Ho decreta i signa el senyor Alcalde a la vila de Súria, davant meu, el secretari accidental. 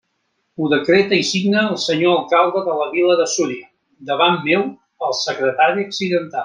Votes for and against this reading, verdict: 0, 2, rejected